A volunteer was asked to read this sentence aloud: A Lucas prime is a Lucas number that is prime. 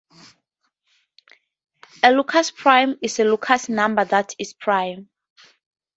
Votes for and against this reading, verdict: 2, 0, accepted